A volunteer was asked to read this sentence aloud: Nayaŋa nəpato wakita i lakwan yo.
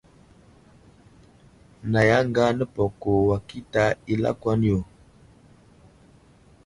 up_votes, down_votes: 1, 2